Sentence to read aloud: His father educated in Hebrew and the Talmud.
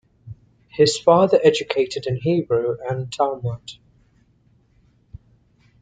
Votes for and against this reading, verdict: 0, 2, rejected